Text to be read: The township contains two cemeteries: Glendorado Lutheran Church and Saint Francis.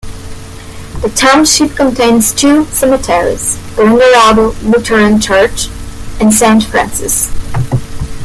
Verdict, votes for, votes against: rejected, 1, 2